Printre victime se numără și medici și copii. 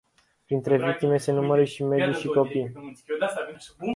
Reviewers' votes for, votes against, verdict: 0, 2, rejected